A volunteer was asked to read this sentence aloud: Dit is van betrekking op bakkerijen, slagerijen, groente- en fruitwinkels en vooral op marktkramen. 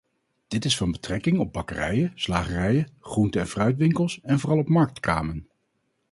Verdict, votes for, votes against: rejected, 0, 2